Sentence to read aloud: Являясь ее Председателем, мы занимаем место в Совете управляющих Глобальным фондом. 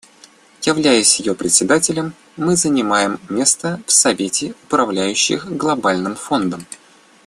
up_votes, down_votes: 2, 0